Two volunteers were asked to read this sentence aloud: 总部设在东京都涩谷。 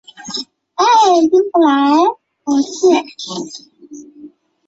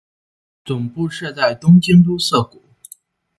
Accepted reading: second